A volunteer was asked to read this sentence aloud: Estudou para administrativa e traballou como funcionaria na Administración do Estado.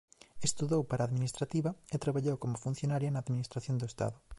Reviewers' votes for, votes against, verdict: 2, 0, accepted